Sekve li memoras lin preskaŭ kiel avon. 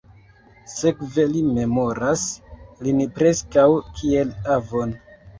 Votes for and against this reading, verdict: 0, 2, rejected